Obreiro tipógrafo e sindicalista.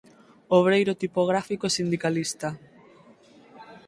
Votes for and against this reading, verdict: 0, 4, rejected